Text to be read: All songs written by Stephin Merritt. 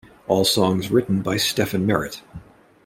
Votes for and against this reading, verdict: 2, 0, accepted